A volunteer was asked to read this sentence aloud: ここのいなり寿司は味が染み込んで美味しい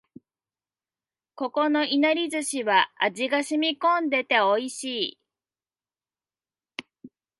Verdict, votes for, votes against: rejected, 1, 2